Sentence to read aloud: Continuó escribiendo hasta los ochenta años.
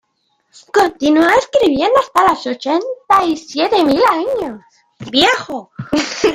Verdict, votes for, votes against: rejected, 0, 2